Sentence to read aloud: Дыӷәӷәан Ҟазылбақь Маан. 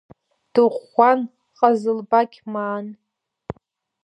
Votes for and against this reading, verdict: 2, 1, accepted